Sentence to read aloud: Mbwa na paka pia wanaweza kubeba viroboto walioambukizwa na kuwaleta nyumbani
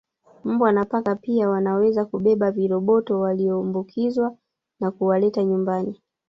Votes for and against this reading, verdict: 1, 2, rejected